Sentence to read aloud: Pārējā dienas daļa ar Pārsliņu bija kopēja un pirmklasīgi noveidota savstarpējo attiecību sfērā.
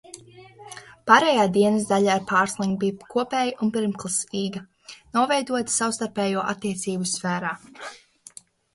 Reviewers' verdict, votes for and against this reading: rejected, 0, 2